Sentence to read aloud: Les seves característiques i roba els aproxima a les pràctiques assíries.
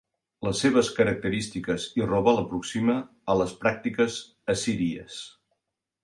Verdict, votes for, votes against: rejected, 0, 2